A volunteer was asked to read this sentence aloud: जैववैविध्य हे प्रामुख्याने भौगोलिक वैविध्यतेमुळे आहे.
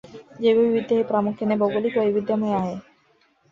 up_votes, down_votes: 0, 2